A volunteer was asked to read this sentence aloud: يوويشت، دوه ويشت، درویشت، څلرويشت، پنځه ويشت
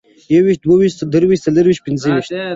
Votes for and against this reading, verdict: 2, 1, accepted